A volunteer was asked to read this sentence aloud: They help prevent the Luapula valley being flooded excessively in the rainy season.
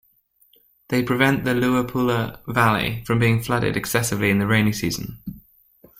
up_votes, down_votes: 1, 2